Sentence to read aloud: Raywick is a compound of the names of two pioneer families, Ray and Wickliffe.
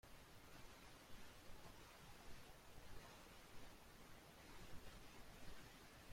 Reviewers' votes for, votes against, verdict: 0, 2, rejected